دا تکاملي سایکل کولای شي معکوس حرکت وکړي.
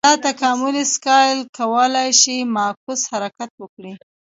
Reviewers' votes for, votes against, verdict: 0, 2, rejected